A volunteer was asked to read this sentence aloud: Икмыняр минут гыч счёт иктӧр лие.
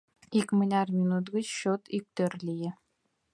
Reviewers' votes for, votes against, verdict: 2, 0, accepted